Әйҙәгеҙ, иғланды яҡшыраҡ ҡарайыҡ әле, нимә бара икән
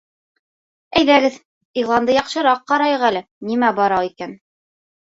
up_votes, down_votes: 2, 0